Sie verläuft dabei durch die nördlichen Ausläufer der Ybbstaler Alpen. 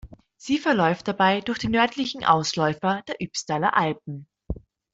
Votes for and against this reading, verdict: 2, 0, accepted